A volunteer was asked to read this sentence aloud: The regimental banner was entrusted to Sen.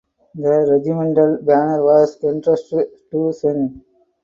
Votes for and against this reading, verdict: 4, 0, accepted